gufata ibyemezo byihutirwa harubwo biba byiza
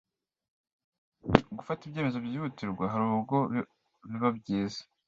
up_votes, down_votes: 1, 2